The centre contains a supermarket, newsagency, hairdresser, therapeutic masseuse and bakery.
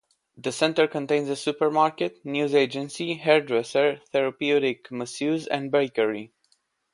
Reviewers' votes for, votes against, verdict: 1, 2, rejected